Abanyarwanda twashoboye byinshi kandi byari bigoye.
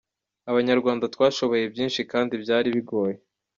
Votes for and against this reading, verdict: 2, 0, accepted